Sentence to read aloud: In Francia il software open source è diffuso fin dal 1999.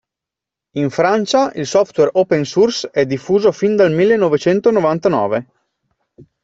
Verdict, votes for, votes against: rejected, 0, 2